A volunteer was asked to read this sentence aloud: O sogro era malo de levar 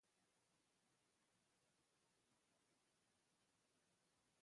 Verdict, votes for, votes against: rejected, 0, 2